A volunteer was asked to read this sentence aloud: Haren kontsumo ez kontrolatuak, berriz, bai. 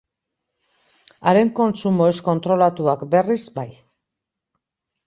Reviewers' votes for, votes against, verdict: 2, 0, accepted